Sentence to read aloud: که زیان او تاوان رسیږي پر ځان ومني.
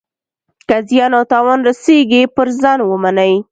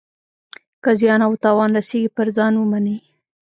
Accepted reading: first